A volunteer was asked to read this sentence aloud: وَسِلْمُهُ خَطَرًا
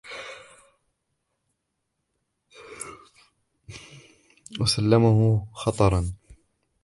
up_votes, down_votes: 1, 2